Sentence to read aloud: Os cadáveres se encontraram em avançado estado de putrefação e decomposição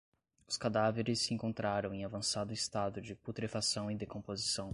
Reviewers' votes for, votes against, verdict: 2, 0, accepted